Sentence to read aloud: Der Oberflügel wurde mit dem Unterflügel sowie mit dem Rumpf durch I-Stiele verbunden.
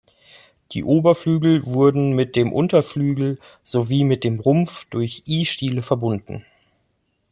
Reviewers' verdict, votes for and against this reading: rejected, 0, 2